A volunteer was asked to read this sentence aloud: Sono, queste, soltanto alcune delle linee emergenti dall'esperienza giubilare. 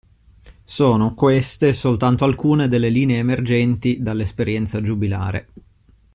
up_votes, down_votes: 2, 0